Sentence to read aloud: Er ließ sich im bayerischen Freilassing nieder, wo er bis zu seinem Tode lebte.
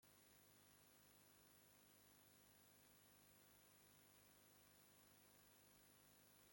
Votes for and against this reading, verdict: 1, 2, rejected